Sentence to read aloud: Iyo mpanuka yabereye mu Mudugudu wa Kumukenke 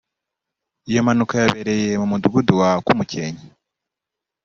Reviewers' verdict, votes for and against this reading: accepted, 2, 0